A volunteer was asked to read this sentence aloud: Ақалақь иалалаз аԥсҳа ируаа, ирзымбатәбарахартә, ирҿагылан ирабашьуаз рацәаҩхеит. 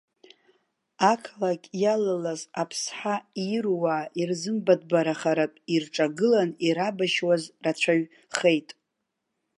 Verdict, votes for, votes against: rejected, 1, 2